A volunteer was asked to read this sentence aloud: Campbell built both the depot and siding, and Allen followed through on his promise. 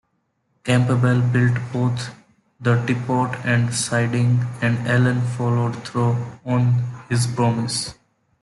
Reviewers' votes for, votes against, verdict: 1, 2, rejected